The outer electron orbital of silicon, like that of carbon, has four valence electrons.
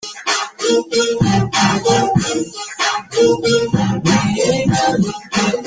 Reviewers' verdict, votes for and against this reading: rejected, 0, 2